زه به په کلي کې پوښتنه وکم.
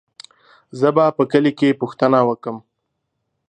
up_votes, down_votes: 3, 0